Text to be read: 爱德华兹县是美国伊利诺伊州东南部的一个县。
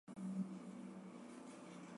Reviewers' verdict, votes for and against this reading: rejected, 0, 2